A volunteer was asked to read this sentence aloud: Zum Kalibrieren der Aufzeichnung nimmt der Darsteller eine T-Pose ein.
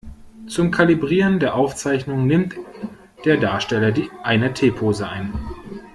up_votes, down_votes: 1, 2